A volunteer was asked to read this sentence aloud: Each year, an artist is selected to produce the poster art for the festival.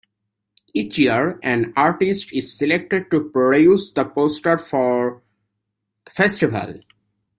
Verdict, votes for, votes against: rejected, 0, 2